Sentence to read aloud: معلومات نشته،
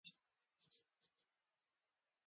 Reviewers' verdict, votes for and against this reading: rejected, 0, 2